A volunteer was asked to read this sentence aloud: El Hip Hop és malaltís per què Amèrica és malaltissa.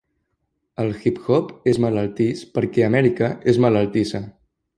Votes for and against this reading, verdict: 2, 0, accepted